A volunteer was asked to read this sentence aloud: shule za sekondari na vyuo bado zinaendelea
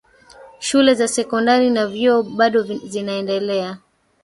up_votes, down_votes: 0, 2